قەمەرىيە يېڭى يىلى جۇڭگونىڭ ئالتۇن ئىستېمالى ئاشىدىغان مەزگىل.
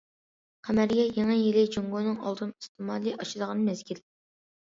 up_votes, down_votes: 2, 0